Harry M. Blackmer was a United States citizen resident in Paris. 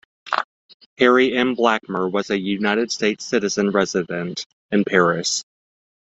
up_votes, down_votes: 2, 0